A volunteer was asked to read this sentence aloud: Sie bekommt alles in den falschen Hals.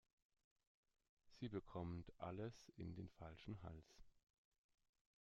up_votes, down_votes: 2, 0